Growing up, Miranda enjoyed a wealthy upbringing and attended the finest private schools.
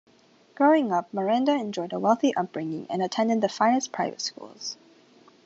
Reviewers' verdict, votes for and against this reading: accepted, 3, 0